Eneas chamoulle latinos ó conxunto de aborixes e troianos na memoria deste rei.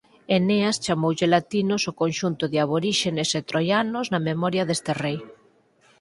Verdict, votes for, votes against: rejected, 4, 6